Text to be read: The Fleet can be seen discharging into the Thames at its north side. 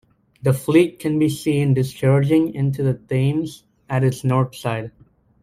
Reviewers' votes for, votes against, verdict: 2, 1, accepted